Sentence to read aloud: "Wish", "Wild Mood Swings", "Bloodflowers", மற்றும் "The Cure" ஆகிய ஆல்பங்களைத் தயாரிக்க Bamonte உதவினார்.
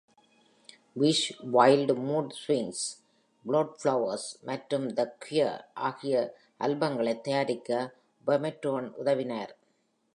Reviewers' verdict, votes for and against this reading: rejected, 1, 2